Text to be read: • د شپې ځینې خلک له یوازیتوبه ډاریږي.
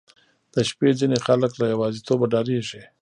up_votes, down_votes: 1, 2